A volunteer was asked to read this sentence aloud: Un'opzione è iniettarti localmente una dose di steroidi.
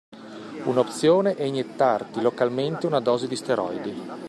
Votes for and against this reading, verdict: 2, 0, accepted